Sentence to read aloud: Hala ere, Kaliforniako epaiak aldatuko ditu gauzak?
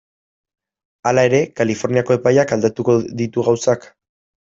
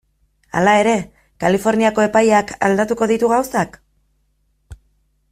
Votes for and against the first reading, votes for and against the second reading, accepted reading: 1, 2, 2, 1, second